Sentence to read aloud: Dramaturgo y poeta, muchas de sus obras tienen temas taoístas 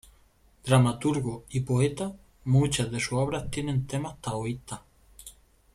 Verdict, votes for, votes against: rejected, 1, 2